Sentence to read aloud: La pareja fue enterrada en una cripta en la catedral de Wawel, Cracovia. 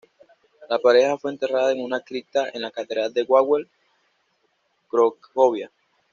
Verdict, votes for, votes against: rejected, 0, 2